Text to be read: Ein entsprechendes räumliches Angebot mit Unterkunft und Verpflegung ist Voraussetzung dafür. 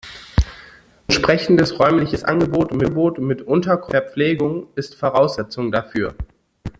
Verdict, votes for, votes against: rejected, 0, 2